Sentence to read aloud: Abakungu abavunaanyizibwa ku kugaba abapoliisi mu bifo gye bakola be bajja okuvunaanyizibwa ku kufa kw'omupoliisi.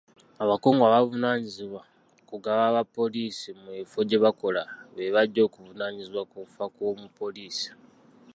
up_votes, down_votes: 1, 2